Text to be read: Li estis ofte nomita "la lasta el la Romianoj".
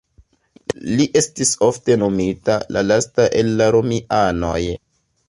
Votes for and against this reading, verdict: 2, 0, accepted